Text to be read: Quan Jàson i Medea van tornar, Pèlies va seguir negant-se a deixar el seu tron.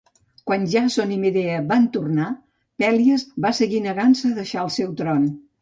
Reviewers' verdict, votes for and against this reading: accepted, 2, 0